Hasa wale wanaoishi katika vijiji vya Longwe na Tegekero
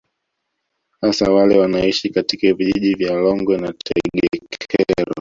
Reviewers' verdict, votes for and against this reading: rejected, 0, 2